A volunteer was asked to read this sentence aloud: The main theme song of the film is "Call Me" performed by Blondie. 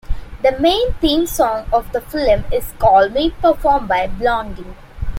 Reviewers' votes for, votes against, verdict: 2, 0, accepted